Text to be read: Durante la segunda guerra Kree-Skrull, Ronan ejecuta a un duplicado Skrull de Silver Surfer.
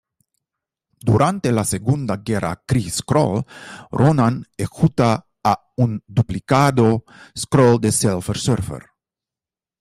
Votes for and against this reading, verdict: 0, 2, rejected